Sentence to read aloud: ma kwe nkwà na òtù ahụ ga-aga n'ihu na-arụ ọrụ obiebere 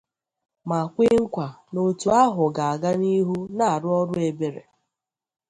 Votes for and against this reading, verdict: 0, 2, rejected